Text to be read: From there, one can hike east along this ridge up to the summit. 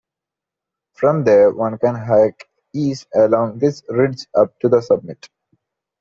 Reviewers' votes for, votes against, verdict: 2, 0, accepted